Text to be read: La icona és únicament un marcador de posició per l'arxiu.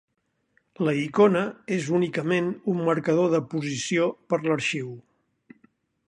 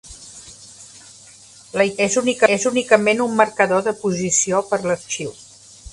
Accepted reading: first